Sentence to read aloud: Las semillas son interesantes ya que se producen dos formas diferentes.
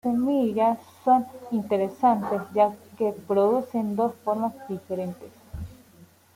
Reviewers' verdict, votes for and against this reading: accepted, 2, 1